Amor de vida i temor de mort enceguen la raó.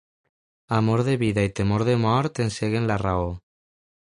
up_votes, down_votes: 2, 0